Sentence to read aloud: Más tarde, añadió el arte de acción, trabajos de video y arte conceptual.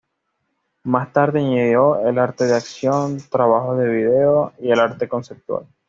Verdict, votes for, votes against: accepted, 2, 0